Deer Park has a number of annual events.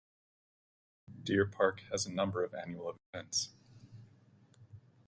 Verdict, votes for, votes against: rejected, 2, 2